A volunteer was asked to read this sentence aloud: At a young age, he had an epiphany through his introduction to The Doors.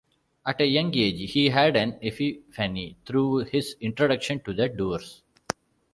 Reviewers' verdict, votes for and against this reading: accepted, 2, 1